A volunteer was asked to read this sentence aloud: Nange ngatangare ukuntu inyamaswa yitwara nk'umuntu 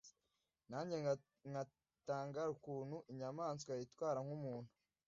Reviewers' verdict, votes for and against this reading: rejected, 0, 2